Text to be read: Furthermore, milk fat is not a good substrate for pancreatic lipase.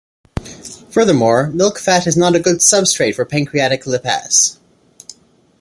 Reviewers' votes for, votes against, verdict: 2, 0, accepted